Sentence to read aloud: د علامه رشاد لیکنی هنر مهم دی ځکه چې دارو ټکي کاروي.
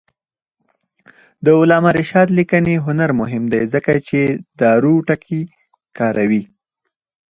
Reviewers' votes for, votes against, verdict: 2, 4, rejected